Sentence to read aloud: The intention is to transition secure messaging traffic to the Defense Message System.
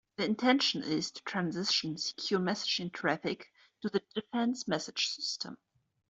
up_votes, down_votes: 2, 0